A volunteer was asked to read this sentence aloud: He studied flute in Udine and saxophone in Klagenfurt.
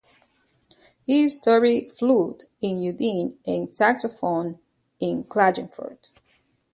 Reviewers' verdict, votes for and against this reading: rejected, 0, 2